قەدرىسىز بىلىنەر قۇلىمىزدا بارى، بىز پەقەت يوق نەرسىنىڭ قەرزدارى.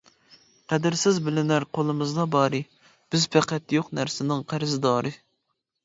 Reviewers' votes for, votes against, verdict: 2, 0, accepted